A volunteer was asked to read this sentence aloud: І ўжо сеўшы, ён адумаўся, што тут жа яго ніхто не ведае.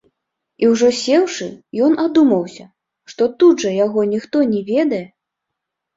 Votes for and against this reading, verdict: 3, 0, accepted